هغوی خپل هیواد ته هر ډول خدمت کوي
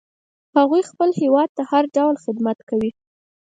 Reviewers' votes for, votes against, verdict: 4, 0, accepted